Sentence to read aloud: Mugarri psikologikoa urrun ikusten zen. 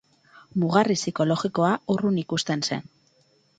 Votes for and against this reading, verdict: 4, 0, accepted